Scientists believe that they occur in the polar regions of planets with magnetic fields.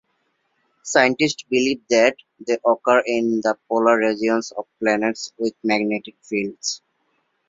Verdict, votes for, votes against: rejected, 1, 2